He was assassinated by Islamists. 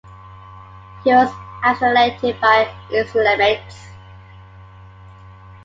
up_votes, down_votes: 0, 2